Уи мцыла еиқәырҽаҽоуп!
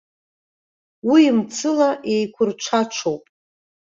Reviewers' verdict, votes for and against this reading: accepted, 2, 0